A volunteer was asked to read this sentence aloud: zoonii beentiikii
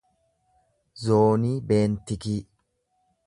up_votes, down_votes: 0, 2